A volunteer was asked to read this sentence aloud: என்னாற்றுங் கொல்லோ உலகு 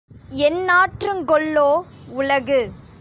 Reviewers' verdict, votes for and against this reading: accepted, 2, 0